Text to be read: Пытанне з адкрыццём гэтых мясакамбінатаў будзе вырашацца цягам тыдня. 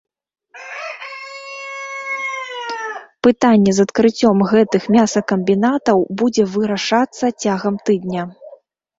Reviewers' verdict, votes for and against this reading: rejected, 0, 2